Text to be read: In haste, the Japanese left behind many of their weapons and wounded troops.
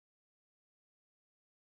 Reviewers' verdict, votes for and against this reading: rejected, 0, 2